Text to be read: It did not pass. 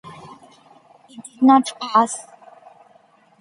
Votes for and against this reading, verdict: 0, 2, rejected